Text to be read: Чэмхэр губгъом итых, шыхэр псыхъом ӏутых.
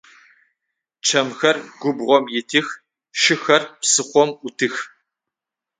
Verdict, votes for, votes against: accepted, 6, 3